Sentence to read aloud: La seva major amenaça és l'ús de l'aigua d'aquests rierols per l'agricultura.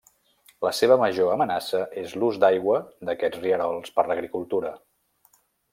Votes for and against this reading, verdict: 0, 2, rejected